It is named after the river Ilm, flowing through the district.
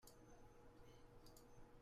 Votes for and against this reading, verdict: 0, 2, rejected